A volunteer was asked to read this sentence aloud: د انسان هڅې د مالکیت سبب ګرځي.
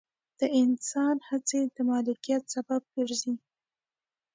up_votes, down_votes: 2, 0